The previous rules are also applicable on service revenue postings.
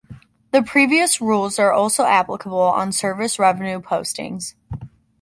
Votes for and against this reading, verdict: 2, 0, accepted